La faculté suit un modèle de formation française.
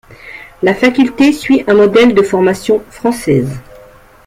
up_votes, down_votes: 2, 0